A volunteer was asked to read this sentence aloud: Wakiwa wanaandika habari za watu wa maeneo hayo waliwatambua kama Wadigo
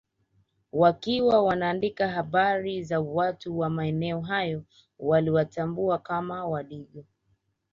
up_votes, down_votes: 4, 1